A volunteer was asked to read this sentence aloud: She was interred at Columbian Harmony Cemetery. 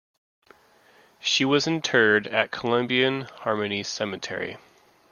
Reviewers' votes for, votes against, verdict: 2, 0, accepted